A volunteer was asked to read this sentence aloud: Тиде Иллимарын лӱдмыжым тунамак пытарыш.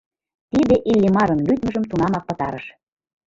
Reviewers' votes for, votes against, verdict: 2, 0, accepted